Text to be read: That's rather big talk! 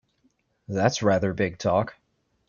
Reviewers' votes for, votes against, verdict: 2, 0, accepted